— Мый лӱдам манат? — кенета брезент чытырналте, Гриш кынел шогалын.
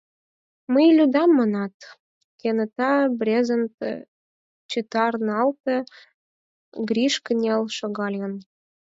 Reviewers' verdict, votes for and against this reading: rejected, 2, 4